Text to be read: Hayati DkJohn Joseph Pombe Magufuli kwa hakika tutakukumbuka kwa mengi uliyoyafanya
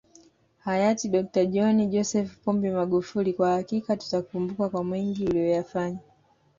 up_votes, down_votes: 2, 1